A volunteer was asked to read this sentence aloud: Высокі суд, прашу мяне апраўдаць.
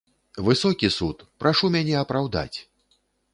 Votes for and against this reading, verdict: 3, 0, accepted